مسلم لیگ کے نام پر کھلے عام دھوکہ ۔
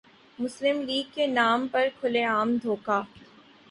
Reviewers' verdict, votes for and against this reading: accepted, 3, 0